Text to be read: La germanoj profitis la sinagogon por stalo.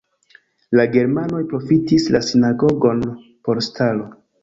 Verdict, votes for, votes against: accepted, 2, 1